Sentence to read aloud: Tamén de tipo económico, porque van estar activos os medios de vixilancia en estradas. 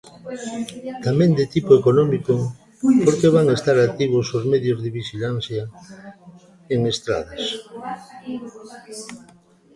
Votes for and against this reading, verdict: 2, 0, accepted